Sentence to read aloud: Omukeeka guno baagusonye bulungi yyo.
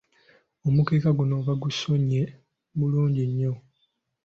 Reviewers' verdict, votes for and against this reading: rejected, 1, 2